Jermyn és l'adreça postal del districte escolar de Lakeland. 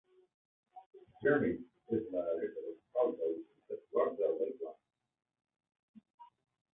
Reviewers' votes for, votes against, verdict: 0, 2, rejected